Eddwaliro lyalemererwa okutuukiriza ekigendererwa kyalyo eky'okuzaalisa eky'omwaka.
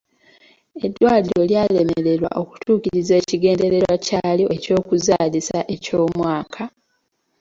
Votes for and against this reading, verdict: 2, 0, accepted